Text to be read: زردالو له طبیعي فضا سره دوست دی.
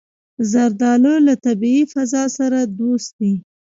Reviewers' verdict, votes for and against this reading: rejected, 0, 2